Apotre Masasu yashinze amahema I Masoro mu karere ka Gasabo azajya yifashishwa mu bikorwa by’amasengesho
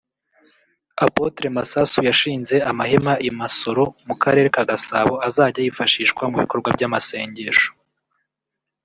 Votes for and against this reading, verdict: 1, 2, rejected